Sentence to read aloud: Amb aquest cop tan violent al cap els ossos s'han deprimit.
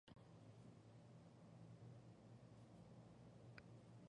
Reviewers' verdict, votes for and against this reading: rejected, 0, 2